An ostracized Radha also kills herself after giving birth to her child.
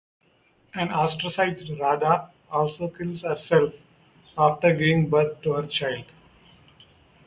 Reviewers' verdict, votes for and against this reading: rejected, 0, 2